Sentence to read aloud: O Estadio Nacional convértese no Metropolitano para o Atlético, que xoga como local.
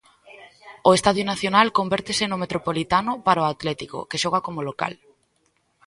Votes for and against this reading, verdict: 2, 0, accepted